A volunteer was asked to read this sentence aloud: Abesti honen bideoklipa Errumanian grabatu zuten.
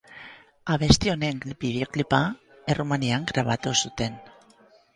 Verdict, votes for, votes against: rejected, 2, 2